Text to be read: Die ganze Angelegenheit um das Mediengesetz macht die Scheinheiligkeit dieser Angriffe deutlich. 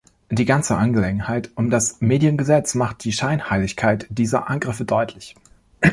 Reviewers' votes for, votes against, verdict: 2, 0, accepted